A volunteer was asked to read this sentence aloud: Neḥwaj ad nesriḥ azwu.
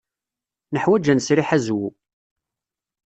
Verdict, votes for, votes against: accepted, 2, 0